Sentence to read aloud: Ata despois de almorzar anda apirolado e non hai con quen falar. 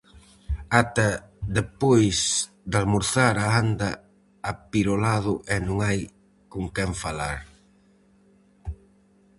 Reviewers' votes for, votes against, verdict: 0, 4, rejected